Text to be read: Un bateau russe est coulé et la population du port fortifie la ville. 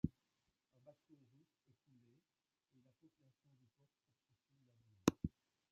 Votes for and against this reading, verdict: 0, 2, rejected